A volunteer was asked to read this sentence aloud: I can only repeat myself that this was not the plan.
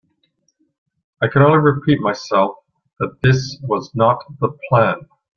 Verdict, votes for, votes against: accepted, 3, 0